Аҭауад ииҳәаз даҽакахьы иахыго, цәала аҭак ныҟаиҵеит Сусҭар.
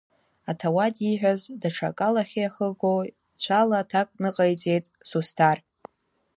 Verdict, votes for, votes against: rejected, 1, 2